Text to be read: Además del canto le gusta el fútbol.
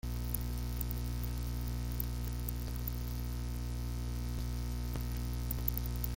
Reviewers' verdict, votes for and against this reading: rejected, 0, 2